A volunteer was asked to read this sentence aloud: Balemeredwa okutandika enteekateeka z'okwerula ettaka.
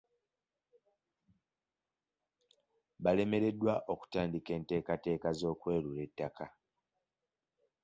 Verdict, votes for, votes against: accepted, 2, 0